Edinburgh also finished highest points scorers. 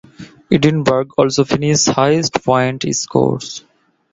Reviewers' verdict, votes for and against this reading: rejected, 1, 2